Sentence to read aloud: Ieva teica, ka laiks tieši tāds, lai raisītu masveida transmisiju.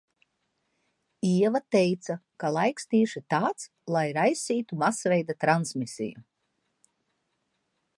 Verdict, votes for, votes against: accepted, 2, 0